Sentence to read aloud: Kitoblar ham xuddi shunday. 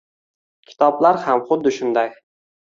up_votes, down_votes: 2, 0